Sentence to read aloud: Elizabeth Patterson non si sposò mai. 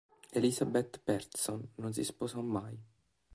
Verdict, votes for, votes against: rejected, 1, 3